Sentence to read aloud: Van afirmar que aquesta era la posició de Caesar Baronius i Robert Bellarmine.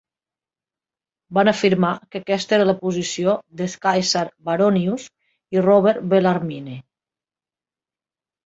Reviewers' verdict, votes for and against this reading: rejected, 0, 2